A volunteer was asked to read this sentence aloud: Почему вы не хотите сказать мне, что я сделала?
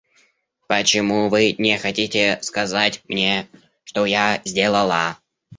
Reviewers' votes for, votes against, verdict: 1, 2, rejected